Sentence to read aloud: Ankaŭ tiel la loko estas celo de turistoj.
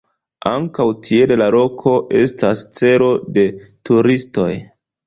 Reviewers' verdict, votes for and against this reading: rejected, 0, 2